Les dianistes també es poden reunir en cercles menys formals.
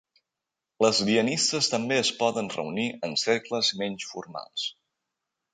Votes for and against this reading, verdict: 2, 0, accepted